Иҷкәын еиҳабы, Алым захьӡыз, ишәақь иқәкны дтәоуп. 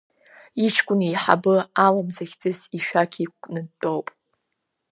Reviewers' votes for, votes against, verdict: 2, 0, accepted